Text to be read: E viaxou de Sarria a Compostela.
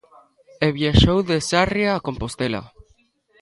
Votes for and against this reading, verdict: 2, 1, accepted